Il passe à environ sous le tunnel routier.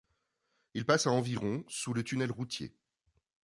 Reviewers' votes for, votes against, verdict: 2, 0, accepted